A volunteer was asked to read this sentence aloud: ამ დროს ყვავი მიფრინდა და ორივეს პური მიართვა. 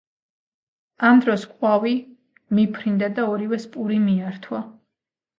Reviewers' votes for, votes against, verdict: 2, 0, accepted